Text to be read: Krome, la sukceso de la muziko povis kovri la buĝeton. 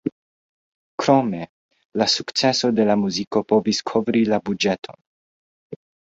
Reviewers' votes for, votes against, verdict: 1, 2, rejected